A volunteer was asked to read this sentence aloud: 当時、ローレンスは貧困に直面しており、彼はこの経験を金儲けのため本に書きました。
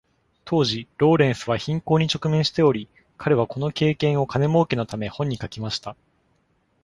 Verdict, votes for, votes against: accepted, 2, 0